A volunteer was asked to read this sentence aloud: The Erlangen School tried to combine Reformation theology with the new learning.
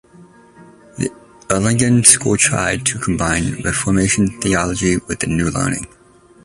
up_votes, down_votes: 1, 2